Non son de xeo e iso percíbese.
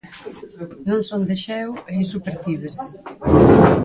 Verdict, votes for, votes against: rejected, 0, 4